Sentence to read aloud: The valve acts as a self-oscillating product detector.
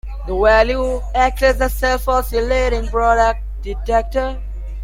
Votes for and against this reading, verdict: 1, 2, rejected